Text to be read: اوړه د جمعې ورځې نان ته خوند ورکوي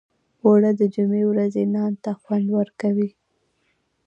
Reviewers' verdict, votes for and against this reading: accepted, 2, 1